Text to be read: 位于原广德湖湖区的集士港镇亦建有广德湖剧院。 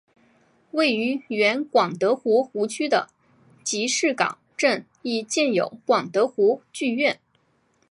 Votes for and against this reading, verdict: 2, 0, accepted